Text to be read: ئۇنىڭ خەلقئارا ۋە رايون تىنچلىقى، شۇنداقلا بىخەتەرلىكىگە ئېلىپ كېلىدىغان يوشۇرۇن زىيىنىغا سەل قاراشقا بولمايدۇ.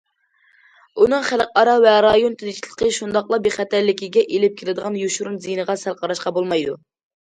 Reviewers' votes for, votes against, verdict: 2, 0, accepted